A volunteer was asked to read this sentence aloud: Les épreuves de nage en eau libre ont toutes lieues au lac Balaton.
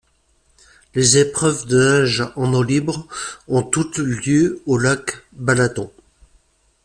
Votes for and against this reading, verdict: 2, 0, accepted